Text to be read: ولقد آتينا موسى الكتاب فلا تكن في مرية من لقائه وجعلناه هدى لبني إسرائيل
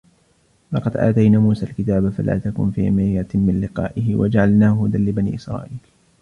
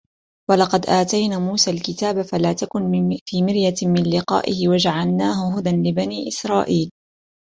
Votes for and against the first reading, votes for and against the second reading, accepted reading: 1, 2, 2, 1, second